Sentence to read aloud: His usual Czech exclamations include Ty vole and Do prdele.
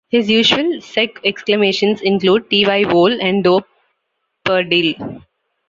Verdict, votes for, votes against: rejected, 0, 2